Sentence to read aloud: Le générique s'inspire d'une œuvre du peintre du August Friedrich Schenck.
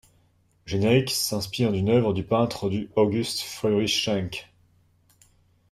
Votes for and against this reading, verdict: 1, 2, rejected